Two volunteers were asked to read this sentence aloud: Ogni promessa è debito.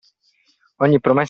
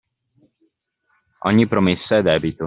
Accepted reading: second